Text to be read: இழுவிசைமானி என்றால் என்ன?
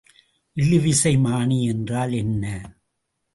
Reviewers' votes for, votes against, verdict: 2, 0, accepted